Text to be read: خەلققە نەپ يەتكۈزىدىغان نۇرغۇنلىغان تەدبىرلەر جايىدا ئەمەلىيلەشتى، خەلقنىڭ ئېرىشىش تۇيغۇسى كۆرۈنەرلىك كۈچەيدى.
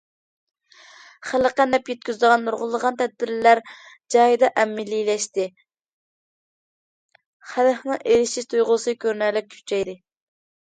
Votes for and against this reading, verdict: 2, 0, accepted